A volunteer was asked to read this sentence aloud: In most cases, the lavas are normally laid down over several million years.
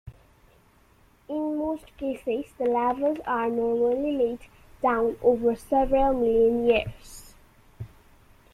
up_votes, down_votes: 2, 1